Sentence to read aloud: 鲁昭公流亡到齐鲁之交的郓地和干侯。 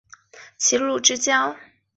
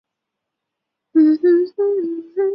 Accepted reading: first